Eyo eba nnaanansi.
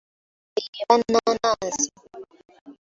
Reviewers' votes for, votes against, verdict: 2, 1, accepted